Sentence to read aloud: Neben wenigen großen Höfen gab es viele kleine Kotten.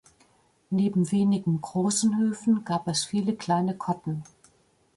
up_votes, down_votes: 2, 0